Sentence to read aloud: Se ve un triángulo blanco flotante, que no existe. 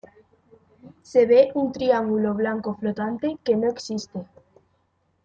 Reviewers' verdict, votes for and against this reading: accepted, 2, 0